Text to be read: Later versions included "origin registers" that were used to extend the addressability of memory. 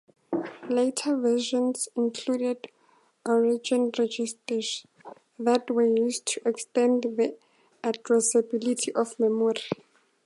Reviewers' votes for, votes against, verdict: 2, 0, accepted